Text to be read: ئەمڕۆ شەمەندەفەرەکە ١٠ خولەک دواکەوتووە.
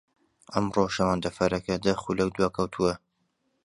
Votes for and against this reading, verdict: 0, 2, rejected